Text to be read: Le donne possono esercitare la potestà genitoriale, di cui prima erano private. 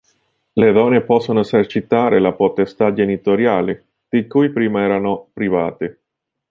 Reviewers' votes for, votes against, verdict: 1, 2, rejected